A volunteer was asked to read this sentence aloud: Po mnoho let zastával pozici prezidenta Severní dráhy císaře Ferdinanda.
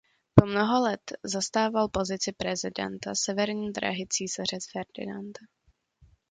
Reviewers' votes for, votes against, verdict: 0, 2, rejected